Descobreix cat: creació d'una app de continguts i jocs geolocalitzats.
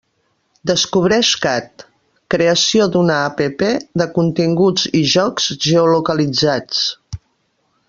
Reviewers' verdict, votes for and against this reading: accepted, 3, 0